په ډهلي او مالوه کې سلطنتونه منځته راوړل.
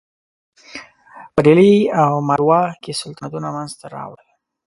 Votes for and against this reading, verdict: 0, 2, rejected